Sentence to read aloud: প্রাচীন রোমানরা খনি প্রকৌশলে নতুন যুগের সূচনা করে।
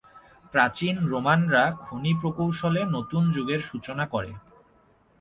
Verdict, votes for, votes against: accepted, 3, 0